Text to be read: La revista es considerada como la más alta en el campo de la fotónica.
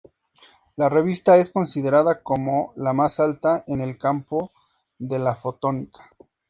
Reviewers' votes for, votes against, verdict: 4, 2, accepted